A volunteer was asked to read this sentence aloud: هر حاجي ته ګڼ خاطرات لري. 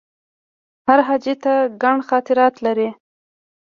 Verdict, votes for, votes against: accepted, 2, 0